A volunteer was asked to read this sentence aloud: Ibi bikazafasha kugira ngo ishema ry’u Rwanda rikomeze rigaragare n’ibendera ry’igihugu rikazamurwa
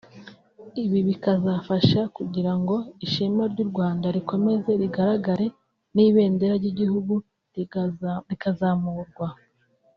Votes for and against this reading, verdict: 1, 2, rejected